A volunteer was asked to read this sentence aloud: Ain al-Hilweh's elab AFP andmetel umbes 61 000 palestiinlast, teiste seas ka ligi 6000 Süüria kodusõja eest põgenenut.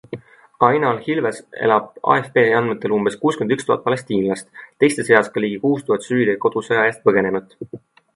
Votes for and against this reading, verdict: 0, 2, rejected